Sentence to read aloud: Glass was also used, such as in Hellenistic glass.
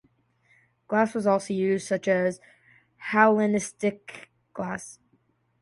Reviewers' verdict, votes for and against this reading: rejected, 0, 2